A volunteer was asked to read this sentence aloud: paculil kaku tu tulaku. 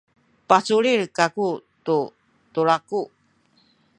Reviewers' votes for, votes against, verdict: 2, 0, accepted